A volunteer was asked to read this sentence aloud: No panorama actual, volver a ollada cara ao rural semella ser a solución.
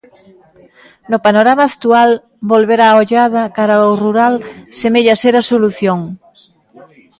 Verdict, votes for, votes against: rejected, 1, 2